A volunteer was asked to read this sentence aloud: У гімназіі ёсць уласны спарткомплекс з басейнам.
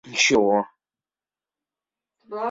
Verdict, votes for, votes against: rejected, 0, 2